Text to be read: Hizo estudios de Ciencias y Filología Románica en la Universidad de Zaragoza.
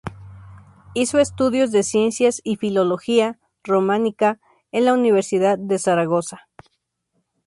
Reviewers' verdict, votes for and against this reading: accepted, 2, 0